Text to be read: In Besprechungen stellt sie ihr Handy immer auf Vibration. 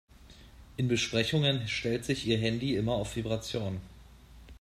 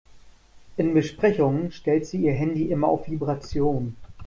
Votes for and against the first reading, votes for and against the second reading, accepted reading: 0, 2, 2, 0, second